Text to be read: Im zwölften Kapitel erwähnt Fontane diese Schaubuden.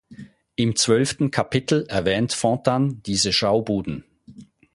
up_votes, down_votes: 0, 4